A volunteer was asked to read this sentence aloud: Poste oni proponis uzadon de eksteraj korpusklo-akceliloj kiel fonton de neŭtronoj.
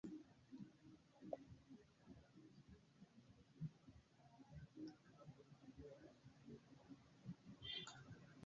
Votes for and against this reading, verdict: 0, 2, rejected